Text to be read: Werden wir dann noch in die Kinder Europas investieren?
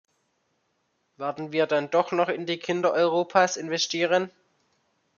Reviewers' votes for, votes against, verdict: 1, 2, rejected